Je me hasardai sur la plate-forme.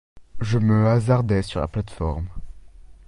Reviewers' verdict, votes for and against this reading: accepted, 2, 0